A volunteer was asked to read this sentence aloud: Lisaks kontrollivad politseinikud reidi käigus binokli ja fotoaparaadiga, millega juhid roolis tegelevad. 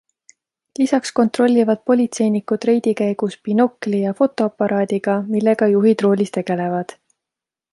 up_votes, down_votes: 2, 0